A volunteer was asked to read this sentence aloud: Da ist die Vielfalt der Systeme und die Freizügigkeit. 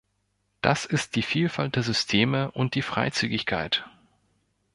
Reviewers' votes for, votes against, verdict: 0, 2, rejected